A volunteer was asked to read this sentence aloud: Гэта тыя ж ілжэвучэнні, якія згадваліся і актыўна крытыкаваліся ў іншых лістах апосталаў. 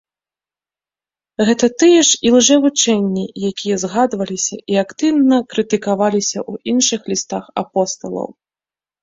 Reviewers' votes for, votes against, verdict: 3, 0, accepted